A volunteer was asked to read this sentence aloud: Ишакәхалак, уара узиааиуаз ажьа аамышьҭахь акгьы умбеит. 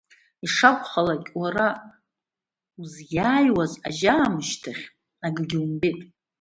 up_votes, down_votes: 2, 1